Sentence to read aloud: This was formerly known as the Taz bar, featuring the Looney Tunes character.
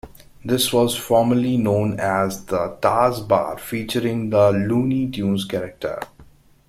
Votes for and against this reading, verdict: 2, 1, accepted